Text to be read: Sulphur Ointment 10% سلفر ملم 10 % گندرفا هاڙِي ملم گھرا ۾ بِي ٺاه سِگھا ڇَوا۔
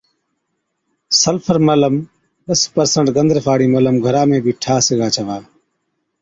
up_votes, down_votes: 0, 2